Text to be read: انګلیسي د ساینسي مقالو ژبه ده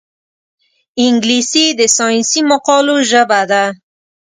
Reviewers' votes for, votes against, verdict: 2, 0, accepted